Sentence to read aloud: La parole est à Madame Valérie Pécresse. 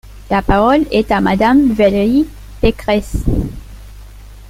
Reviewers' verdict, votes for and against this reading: accepted, 2, 1